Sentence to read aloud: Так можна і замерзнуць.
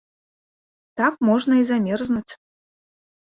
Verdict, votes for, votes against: accepted, 2, 0